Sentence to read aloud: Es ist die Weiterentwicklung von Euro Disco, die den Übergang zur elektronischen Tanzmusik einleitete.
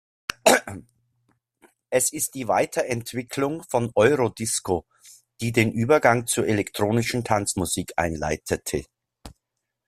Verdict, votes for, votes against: rejected, 1, 2